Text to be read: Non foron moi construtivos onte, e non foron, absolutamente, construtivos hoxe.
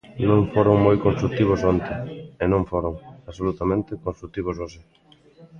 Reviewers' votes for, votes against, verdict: 1, 2, rejected